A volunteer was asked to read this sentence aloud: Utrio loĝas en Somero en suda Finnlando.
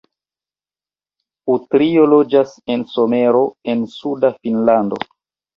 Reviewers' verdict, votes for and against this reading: accepted, 2, 0